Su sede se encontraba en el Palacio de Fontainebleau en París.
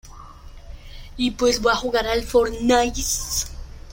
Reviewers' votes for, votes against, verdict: 0, 2, rejected